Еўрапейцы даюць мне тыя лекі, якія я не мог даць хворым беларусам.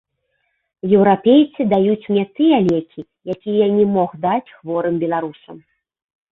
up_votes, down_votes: 2, 0